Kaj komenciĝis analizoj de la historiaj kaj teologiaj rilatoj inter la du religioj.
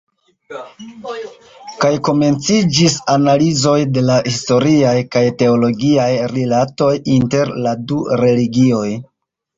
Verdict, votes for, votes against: rejected, 1, 2